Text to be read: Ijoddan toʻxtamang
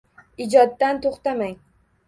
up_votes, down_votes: 1, 2